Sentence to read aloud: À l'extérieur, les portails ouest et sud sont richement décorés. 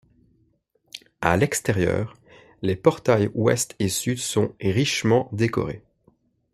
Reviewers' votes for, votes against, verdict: 2, 0, accepted